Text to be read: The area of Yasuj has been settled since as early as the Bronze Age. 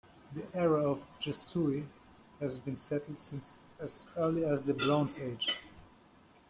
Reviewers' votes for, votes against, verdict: 1, 2, rejected